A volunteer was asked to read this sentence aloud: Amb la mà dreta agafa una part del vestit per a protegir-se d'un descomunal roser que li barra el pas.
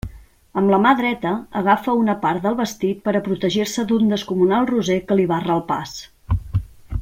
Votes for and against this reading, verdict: 3, 0, accepted